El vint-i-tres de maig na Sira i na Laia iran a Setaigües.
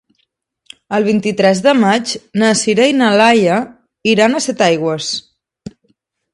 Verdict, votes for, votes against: accepted, 2, 0